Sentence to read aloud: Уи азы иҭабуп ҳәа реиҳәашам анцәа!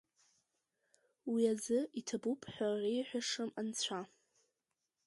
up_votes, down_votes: 2, 0